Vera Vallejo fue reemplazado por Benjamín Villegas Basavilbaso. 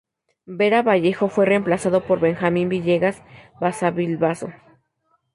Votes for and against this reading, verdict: 2, 0, accepted